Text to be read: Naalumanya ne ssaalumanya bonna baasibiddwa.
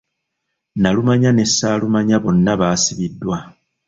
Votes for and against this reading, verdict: 0, 2, rejected